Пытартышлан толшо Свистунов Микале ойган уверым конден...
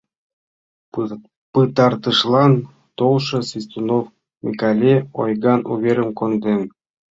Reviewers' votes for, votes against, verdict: 1, 2, rejected